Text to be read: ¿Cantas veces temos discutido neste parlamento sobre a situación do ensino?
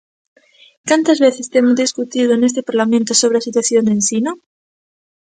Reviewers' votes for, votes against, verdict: 2, 0, accepted